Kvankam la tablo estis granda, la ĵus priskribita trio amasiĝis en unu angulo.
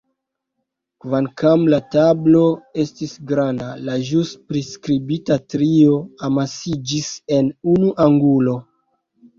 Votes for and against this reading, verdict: 2, 0, accepted